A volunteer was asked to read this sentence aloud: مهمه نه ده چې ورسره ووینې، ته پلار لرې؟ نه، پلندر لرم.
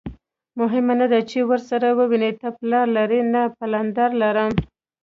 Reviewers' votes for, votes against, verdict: 2, 1, accepted